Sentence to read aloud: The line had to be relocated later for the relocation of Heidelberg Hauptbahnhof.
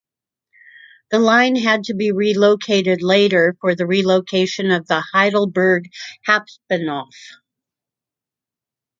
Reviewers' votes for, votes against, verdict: 1, 2, rejected